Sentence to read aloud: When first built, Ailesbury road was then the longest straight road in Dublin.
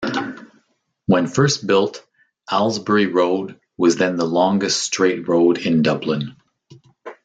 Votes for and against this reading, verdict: 2, 0, accepted